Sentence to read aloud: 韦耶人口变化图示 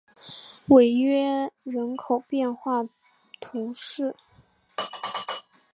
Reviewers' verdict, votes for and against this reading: accepted, 2, 1